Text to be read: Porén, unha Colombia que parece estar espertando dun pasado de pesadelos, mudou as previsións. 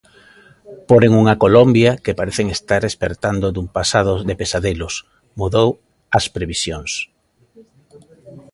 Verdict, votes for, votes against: rejected, 0, 2